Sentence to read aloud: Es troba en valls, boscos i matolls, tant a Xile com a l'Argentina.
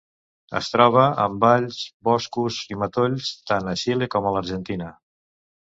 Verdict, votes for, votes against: accepted, 3, 0